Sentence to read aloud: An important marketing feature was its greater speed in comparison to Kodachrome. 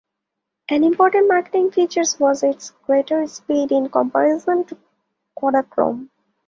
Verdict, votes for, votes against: accepted, 2, 0